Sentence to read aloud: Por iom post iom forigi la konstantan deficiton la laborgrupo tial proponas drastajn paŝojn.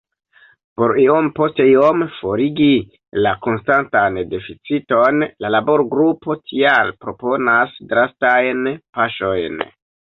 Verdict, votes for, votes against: accepted, 2, 0